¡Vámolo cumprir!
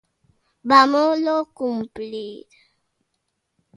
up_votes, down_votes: 1, 2